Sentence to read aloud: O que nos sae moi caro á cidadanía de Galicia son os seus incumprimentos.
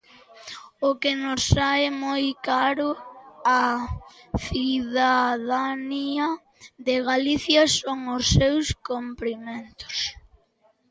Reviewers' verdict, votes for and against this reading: rejected, 0, 2